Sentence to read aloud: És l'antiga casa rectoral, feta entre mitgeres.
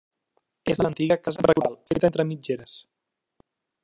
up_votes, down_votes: 0, 2